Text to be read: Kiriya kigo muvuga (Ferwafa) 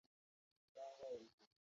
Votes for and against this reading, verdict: 0, 2, rejected